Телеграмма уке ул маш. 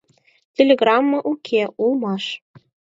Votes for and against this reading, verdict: 2, 4, rejected